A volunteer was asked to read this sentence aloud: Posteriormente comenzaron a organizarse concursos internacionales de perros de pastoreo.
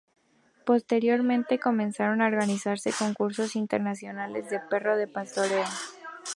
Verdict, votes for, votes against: accepted, 2, 0